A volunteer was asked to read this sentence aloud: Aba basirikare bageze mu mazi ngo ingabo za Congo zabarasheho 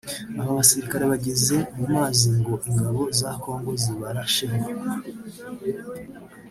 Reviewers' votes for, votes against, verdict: 0, 3, rejected